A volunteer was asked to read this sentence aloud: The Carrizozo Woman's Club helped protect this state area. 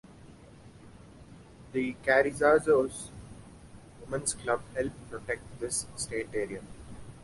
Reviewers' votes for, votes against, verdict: 1, 2, rejected